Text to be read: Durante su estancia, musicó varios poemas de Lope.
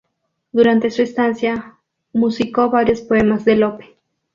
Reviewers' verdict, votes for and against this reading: rejected, 0, 2